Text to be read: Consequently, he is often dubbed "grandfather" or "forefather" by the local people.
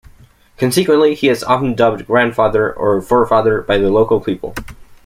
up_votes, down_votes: 2, 1